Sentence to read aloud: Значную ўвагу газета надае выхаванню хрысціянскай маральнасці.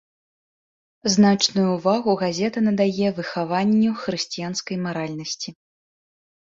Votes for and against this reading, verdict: 2, 0, accepted